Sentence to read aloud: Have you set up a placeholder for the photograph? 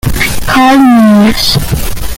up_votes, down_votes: 0, 2